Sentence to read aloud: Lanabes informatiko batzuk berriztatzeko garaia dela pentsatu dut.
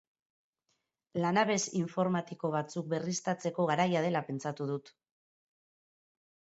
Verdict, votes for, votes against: accepted, 2, 0